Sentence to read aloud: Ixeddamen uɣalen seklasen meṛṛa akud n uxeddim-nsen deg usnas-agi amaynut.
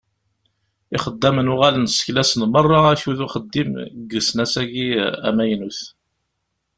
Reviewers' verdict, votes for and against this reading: rejected, 0, 2